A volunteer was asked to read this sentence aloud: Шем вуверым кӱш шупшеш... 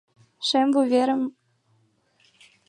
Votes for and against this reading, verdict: 0, 2, rejected